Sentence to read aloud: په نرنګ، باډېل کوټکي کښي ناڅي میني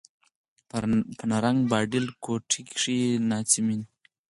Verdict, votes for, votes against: rejected, 2, 4